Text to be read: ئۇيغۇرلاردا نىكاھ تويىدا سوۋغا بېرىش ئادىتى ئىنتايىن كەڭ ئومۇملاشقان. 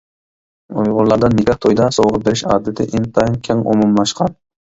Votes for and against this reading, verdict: 1, 2, rejected